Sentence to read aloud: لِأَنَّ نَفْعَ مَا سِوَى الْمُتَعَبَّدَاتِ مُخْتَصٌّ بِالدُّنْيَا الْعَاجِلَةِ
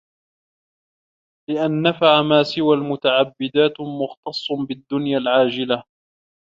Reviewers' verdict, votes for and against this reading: accepted, 2, 1